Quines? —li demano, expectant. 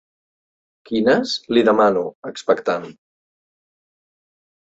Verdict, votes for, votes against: accepted, 2, 0